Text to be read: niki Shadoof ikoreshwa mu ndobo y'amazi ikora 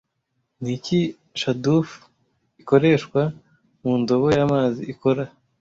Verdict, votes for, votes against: accepted, 2, 0